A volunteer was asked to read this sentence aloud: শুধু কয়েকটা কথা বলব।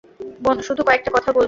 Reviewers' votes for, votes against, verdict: 0, 2, rejected